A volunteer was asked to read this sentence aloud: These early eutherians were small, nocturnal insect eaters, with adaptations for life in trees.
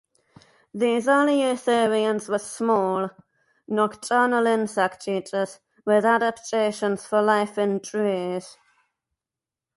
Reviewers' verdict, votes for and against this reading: rejected, 0, 2